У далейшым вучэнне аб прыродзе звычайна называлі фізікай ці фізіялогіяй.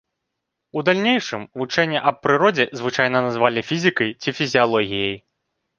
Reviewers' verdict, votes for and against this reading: rejected, 1, 2